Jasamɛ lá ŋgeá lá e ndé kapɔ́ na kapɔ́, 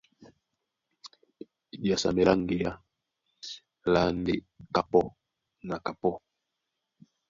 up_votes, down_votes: 0, 2